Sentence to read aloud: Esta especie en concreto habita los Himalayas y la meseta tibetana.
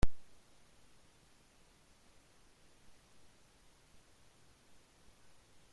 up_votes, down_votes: 0, 2